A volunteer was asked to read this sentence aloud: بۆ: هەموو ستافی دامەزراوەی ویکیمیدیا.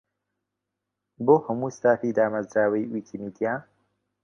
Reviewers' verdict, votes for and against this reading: accepted, 2, 0